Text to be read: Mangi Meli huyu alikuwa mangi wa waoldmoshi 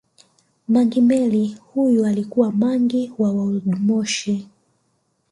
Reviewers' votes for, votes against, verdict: 1, 2, rejected